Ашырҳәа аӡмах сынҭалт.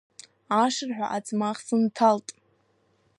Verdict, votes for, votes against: accepted, 2, 0